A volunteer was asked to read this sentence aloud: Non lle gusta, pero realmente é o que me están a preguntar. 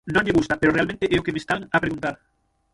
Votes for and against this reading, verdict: 0, 6, rejected